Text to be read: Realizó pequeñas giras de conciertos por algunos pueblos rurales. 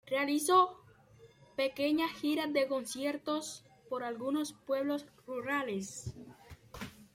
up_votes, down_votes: 1, 2